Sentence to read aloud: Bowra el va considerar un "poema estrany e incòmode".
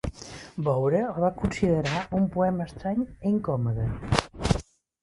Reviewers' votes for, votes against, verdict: 1, 2, rejected